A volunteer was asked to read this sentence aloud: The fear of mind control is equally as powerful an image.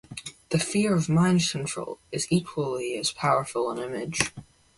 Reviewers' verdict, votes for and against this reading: rejected, 0, 2